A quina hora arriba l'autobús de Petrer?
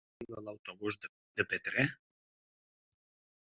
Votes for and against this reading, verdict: 0, 2, rejected